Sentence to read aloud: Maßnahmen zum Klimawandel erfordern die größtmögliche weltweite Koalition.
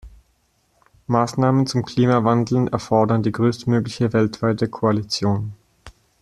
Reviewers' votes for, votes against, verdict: 1, 2, rejected